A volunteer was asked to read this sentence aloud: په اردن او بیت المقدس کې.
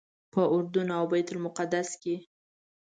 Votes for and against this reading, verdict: 2, 0, accepted